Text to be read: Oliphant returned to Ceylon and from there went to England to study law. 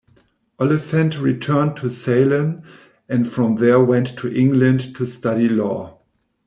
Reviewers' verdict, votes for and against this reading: rejected, 0, 2